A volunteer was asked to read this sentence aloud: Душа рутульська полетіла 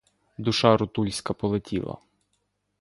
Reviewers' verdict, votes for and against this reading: accepted, 2, 0